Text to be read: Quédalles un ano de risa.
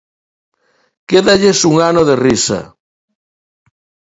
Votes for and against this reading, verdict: 2, 0, accepted